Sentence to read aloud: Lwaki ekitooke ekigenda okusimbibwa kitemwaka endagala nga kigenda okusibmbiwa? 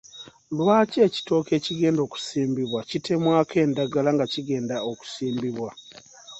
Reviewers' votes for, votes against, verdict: 2, 0, accepted